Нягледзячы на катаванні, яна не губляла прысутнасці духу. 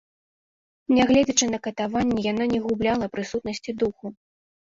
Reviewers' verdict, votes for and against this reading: accepted, 2, 0